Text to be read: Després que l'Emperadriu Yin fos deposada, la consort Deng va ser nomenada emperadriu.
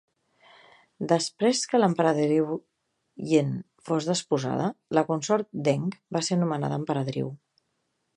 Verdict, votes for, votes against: rejected, 1, 2